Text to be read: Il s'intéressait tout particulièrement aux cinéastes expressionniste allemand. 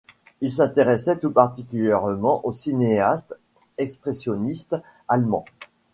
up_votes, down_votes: 2, 0